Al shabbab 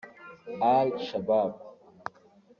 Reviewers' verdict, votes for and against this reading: rejected, 1, 2